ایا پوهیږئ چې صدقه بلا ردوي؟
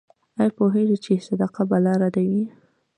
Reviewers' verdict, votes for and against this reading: accepted, 2, 0